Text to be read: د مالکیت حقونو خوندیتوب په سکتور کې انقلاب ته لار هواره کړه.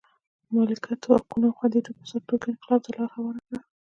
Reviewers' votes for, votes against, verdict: 1, 2, rejected